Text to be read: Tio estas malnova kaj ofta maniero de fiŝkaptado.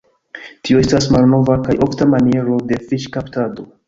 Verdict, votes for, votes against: accepted, 2, 0